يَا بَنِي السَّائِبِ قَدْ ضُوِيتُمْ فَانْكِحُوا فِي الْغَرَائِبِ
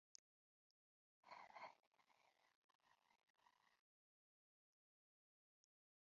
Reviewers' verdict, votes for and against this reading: rejected, 1, 2